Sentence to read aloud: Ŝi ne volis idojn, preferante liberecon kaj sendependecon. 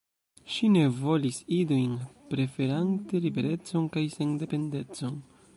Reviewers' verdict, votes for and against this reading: accepted, 2, 1